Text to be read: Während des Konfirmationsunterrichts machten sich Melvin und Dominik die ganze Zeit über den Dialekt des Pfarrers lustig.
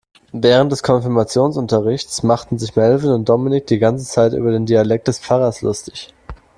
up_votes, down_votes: 2, 0